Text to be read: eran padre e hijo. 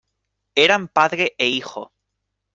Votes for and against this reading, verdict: 2, 0, accepted